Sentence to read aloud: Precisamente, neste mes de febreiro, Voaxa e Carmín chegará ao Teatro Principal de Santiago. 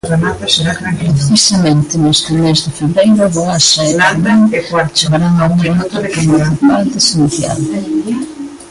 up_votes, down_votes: 0, 2